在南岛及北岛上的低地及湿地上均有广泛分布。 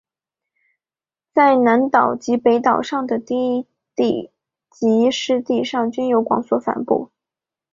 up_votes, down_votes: 6, 1